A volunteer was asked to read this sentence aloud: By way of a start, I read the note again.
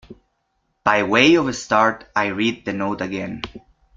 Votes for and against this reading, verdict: 2, 0, accepted